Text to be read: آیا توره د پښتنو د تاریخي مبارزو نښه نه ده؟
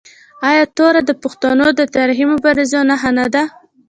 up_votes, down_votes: 2, 0